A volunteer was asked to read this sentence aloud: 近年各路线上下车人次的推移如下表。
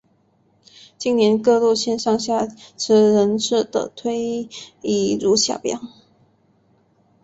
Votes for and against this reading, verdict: 1, 2, rejected